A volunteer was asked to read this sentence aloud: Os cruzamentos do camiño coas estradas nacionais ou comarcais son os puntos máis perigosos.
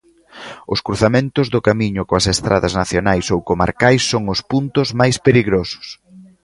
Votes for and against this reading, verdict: 0, 2, rejected